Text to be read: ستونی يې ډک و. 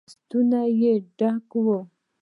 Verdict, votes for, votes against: rejected, 0, 2